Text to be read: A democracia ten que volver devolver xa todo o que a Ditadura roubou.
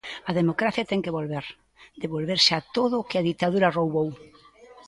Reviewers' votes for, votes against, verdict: 2, 0, accepted